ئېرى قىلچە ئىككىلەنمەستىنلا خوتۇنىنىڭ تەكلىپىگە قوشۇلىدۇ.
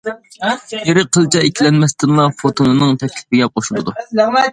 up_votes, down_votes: 0, 2